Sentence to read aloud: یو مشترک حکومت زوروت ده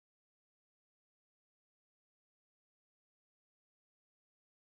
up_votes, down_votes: 0, 4